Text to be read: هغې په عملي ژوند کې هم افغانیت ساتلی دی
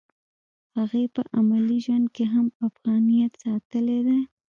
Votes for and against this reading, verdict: 2, 0, accepted